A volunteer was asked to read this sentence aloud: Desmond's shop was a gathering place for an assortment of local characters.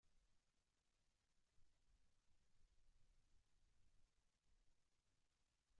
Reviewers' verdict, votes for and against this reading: rejected, 0, 2